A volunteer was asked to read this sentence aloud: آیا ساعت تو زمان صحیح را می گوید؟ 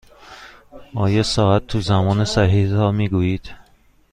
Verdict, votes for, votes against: rejected, 1, 2